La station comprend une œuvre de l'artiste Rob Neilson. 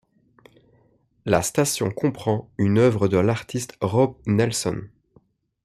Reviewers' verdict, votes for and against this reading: accepted, 2, 0